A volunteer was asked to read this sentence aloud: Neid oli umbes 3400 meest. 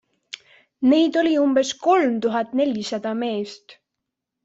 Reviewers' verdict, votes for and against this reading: rejected, 0, 2